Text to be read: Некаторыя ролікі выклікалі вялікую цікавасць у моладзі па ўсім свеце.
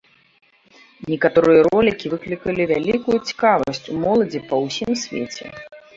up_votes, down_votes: 0, 2